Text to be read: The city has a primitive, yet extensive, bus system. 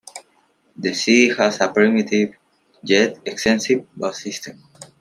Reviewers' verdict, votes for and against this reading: rejected, 0, 2